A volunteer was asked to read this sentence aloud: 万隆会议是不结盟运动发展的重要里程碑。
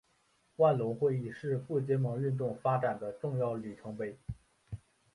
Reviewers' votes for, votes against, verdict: 2, 0, accepted